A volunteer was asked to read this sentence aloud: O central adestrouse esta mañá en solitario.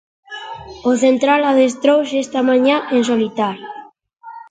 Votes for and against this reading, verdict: 2, 0, accepted